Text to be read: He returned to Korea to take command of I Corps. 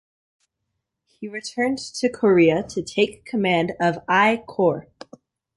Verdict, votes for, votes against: accepted, 2, 1